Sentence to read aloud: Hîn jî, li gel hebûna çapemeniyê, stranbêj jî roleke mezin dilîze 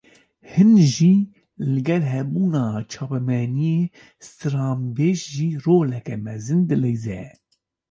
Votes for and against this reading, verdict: 1, 2, rejected